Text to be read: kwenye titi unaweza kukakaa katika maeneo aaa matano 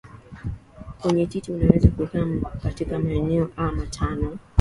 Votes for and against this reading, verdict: 2, 1, accepted